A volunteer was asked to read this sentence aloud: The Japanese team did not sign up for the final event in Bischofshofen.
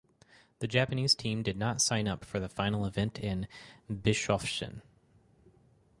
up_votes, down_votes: 2, 2